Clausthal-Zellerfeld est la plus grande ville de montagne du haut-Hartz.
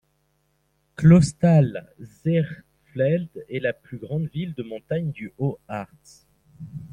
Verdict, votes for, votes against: rejected, 1, 2